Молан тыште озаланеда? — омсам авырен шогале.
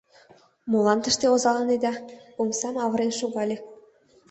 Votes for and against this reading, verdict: 2, 0, accepted